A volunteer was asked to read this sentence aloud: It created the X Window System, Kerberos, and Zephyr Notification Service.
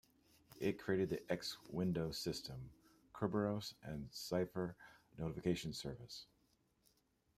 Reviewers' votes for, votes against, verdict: 0, 2, rejected